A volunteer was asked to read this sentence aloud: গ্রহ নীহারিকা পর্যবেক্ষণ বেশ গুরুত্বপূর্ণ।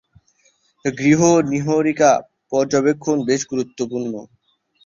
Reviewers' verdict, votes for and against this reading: rejected, 0, 11